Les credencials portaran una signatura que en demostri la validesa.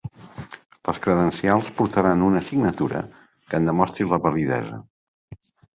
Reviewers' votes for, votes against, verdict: 2, 0, accepted